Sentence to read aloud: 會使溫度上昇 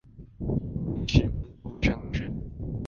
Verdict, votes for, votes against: rejected, 0, 2